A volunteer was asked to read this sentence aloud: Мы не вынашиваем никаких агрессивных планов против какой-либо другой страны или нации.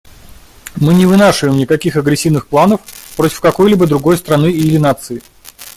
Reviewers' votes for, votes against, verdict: 2, 0, accepted